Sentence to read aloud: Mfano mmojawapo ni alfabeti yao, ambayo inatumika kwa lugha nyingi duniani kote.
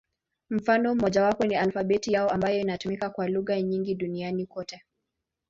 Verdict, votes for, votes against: accepted, 2, 0